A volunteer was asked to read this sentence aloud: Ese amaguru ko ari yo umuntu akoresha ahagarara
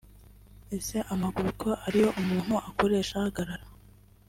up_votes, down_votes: 2, 0